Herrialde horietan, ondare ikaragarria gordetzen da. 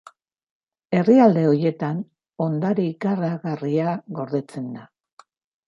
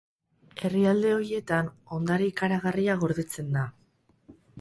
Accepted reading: first